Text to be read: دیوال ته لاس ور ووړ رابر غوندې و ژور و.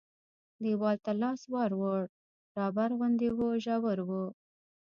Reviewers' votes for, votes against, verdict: 1, 2, rejected